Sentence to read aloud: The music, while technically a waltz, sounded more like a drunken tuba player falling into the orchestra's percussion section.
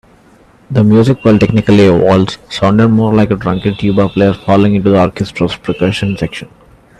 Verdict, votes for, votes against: accepted, 2, 0